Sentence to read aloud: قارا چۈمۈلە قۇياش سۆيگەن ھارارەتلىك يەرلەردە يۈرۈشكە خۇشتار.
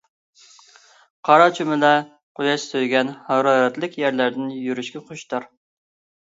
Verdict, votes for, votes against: rejected, 0, 2